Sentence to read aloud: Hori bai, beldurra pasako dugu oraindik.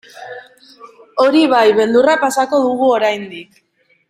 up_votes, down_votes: 2, 1